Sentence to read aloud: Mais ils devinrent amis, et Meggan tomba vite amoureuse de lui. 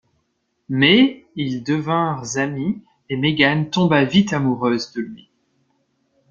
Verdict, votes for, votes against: rejected, 1, 3